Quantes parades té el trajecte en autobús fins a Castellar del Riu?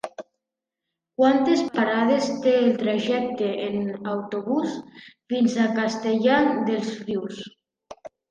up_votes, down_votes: 1, 2